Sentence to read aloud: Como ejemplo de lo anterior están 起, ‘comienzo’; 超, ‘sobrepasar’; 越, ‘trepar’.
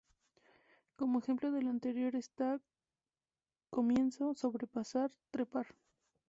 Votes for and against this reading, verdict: 0, 2, rejected